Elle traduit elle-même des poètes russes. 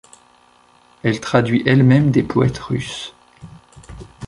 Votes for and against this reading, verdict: 2, 0, accepted